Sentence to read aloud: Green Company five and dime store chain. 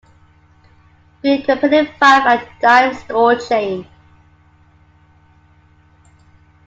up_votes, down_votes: 1, 2